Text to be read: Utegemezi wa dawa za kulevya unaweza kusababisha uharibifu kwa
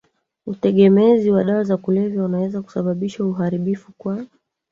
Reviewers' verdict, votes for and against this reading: rejected, 0, 2